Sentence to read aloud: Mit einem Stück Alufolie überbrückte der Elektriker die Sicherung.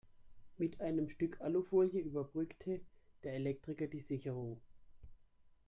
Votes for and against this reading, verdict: 1, 2, rejected